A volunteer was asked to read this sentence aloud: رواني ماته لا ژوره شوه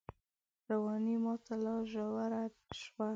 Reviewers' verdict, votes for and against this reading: accepted, 2, 1